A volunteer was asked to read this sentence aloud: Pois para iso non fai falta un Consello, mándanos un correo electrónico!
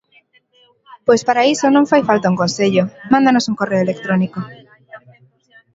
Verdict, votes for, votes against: rejected, 1, 2